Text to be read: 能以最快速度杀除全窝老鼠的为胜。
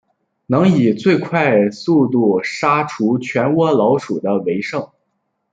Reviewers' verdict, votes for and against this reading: accepted, 2, 0